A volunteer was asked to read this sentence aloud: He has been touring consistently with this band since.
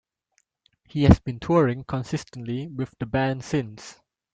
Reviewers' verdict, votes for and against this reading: rejected, 0, 2